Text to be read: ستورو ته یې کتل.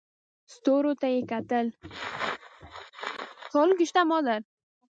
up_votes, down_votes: 1, 2